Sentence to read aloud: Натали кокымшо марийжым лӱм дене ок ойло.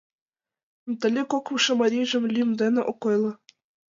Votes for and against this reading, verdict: 3, 1, accepted